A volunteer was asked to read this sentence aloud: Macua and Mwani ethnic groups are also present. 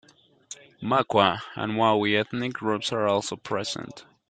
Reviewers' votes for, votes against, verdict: 0, 2, rejected